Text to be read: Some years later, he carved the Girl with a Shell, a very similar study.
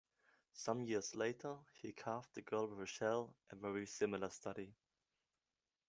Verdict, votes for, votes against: accepted, 2, 1